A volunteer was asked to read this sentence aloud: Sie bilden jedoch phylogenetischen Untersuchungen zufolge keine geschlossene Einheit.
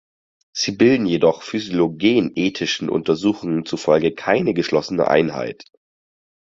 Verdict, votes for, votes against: rejected, 0, 6